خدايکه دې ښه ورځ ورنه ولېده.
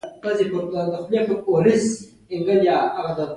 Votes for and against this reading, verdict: 1, 2, rejected